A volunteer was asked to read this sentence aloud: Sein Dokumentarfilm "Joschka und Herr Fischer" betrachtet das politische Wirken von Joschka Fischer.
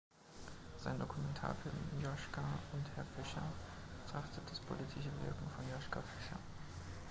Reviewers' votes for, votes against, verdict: 1, 2, rejected